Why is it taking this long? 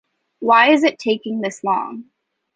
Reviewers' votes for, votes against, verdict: 2, 0, accepted